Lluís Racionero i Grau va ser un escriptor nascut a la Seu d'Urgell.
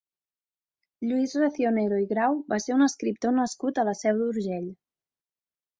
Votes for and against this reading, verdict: 3, 0, accepted